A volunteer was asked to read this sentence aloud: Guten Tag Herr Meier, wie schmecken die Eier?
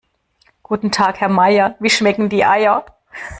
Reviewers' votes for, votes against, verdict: 2, 0, accepted